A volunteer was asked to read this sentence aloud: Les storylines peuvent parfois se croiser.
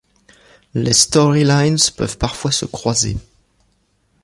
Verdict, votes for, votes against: rejected, 0, 2